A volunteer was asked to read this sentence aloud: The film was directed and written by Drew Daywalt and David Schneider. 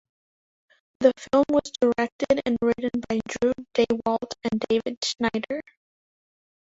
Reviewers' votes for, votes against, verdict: 1, 2, rejected